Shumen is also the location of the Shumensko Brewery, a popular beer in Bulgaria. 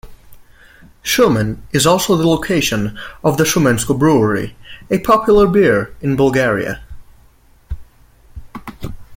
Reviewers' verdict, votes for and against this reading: accepted, 2, 0